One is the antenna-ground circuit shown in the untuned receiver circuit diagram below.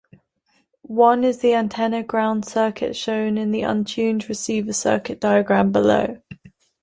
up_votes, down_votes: 2, 0